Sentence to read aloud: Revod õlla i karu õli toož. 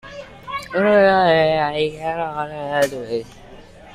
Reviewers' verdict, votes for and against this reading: rejected, 0, 2